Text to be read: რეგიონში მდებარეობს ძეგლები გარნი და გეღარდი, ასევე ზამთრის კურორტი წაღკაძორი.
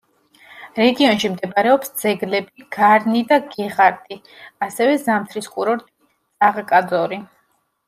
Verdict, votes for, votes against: rejected, 1, 2